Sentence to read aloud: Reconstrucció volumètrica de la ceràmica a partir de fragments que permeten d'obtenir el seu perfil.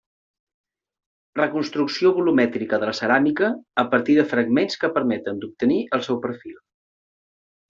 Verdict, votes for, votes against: accepted, 3, 0